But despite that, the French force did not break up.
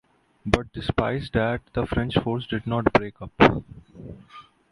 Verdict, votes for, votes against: rejected, 0, 2